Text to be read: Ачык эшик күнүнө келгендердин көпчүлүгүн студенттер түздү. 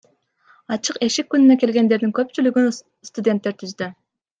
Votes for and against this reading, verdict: 2, 1, accepted